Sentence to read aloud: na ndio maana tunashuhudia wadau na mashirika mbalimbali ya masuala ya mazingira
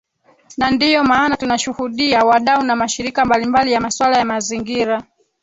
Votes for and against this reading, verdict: 3, 1, accepted